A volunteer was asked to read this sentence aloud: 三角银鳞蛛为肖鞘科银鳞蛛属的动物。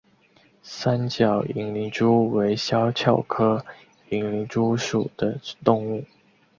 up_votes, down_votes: 9, 0